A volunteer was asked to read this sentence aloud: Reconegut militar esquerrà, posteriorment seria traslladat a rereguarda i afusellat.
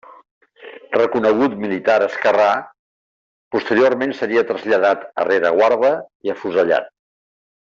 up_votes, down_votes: 2, 0